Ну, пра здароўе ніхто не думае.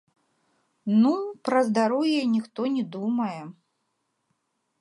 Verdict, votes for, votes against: accepted, 2, 0